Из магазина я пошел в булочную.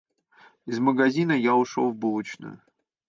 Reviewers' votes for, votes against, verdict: 1, 2, rejected